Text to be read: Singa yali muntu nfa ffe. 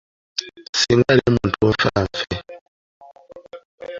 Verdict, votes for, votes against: rejected, 0, 2